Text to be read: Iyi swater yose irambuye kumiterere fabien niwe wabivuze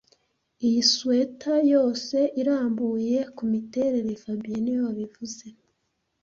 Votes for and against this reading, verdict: 2, 1, accepted